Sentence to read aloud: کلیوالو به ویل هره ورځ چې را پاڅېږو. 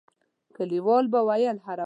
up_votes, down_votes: 1, 2